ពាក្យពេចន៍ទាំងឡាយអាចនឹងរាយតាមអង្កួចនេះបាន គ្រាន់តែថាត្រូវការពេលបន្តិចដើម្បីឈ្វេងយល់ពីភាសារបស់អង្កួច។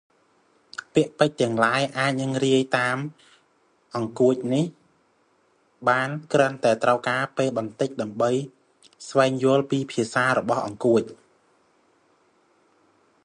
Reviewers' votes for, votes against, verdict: 0, 2, rejected